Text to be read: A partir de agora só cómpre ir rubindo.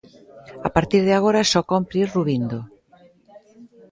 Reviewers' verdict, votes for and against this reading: rejected, 1, 2